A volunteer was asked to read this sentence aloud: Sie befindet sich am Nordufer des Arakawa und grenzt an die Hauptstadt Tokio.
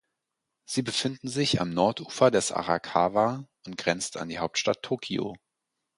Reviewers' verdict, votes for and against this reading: rejected, 0, 4